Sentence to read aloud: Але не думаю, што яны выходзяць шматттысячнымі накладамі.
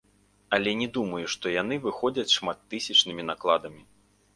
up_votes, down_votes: 1, 2